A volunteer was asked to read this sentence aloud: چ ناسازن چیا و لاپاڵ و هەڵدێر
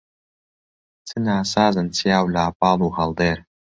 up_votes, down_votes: 2, 1